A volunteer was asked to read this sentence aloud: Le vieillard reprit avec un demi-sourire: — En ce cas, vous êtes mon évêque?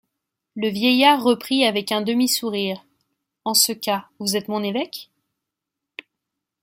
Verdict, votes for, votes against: accepted, 2, 0